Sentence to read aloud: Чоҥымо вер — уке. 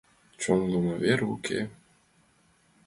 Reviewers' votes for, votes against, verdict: 2, 0, accepted